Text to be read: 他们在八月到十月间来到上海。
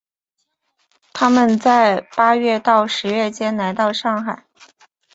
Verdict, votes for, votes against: accepted, 2, 1